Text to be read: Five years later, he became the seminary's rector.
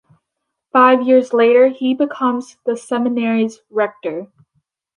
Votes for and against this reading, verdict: 0, 2, rejected